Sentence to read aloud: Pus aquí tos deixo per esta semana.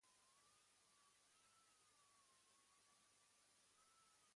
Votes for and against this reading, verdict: 1, 2, rejected